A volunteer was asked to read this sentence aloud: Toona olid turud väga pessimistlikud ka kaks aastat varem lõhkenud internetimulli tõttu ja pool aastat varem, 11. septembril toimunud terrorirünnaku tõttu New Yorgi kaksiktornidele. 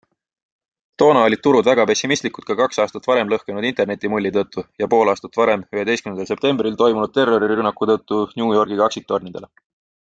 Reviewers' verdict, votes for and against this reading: rejected, 0, 2